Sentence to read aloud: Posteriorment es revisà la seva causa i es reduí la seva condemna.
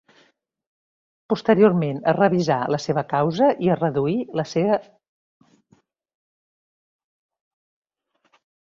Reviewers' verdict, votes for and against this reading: rejected, 0, 2